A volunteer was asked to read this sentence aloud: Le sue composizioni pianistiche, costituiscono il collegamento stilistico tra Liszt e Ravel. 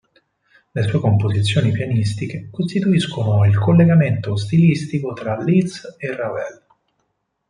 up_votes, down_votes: 4, 0